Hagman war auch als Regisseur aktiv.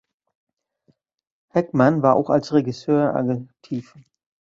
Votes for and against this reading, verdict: 0, 2, rejected